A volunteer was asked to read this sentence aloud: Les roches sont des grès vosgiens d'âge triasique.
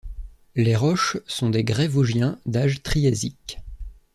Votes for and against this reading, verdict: 2, 0, accepted